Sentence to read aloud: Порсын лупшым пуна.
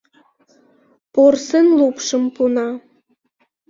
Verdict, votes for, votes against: accepted, 2, 0